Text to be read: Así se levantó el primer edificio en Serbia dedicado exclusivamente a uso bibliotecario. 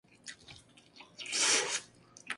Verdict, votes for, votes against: rejected, 0, 2